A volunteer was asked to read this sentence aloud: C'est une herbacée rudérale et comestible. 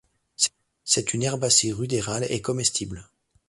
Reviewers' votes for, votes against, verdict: 1, 2, rejected